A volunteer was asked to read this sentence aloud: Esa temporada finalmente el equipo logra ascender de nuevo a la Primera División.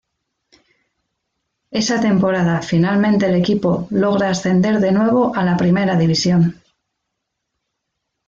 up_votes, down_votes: 2, 0